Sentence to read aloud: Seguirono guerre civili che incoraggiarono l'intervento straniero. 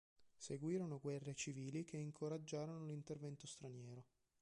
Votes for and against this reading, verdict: 2, 0, accepted